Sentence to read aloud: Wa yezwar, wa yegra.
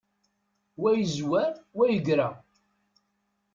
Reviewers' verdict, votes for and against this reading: accepted, 2, 0